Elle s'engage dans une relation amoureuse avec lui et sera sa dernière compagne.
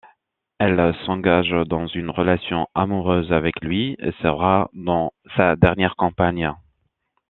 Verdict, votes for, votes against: rejected, 0, 2